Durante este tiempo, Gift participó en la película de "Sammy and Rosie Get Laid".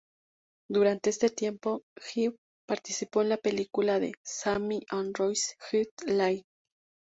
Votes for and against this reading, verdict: 0, 2, rejected